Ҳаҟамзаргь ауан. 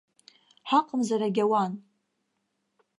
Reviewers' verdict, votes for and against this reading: rejected, 2, 3